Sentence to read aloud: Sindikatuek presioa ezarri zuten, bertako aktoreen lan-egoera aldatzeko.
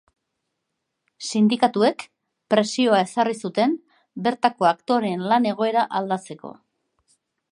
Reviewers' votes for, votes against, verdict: 3, 0, accepted